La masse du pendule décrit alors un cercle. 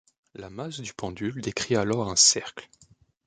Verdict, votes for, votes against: accepted, 2, 0